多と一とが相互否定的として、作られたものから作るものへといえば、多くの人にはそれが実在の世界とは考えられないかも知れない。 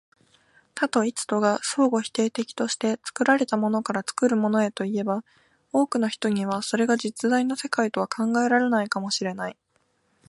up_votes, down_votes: 2, 0